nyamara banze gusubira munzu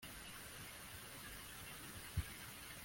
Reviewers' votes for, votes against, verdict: 0, 2, rejected